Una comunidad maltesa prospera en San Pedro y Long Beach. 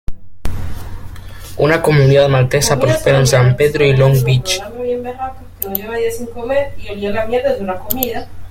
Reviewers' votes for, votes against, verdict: 1, 2, rejected